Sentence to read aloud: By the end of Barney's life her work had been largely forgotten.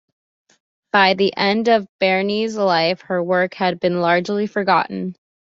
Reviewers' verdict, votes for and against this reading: accepted, 2, 0